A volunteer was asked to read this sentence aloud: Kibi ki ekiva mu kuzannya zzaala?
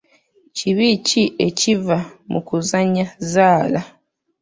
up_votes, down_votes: 3, 0